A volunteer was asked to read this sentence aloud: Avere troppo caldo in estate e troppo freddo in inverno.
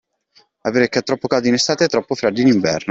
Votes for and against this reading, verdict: 2, 0, accepted